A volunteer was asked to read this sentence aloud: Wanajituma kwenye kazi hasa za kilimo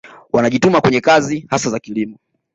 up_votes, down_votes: 2, 0